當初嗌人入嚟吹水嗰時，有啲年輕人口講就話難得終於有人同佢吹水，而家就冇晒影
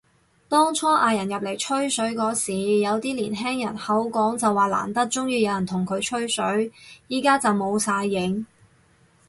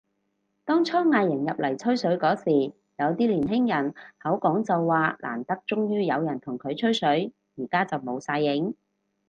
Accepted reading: second